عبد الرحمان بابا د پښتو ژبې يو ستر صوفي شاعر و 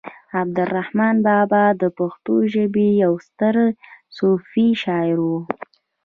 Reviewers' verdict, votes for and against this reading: accepted, 2, 0